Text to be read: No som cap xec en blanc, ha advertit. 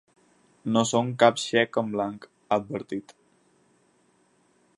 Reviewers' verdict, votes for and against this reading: accepted, 4, 0